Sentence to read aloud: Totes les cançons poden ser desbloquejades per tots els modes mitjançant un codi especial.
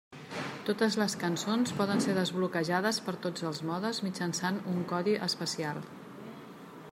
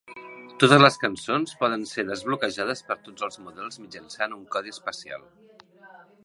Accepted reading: first